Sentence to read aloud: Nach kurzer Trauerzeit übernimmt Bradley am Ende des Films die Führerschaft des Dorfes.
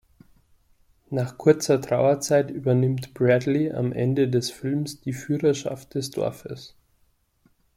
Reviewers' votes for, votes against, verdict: 2, 0, accepted